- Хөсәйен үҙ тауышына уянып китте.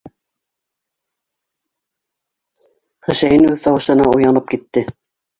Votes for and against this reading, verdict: 2, 0, accepted